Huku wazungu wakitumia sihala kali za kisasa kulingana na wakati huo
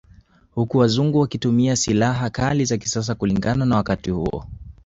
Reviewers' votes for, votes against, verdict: 2, 0, accepted